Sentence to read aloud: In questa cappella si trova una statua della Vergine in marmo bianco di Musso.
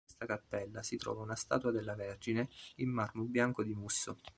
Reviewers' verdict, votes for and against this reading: rejected, 1, 2